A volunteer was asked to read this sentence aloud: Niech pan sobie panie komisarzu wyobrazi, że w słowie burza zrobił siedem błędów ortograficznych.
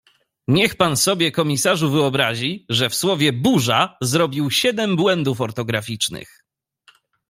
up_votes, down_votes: 0, 2